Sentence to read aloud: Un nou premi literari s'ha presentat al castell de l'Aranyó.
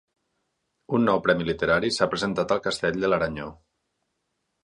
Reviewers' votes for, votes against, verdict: 4, 0, accepted